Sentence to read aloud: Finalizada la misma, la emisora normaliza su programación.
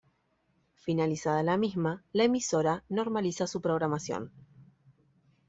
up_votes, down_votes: 2, 0